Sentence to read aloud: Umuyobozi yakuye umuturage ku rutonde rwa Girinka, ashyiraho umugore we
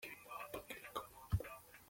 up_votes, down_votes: 0, 2